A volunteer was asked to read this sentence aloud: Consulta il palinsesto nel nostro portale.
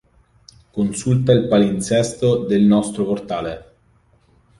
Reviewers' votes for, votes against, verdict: 0, 2, rejected